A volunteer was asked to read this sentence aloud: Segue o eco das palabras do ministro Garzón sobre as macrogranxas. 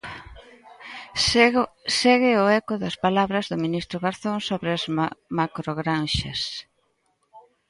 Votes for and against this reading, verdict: 0, 2, rejected